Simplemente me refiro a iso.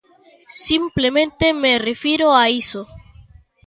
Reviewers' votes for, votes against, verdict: 1, 2, rejected